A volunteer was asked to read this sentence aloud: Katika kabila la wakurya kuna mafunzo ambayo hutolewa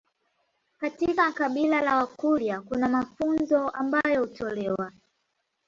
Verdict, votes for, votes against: rejected, 1, 2